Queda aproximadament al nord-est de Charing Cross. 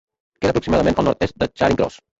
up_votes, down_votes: 0, 2